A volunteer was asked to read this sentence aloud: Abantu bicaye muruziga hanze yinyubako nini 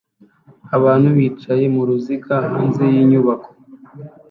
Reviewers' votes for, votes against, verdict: 0, 2, rejected